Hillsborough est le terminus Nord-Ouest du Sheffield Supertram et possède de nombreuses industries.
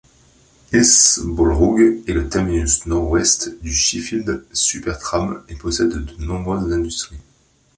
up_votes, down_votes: 2, 0